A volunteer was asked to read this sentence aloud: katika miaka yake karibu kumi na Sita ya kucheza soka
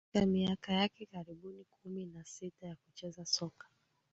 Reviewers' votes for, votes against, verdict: 1, 2, rejected